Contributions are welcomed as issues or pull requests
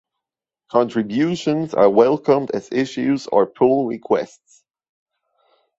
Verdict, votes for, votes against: accepted, 2, 0